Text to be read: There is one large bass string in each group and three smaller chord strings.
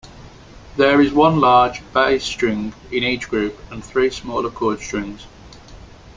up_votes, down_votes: 2, 0